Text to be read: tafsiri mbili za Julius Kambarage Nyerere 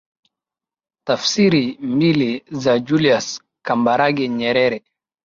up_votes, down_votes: 7, 0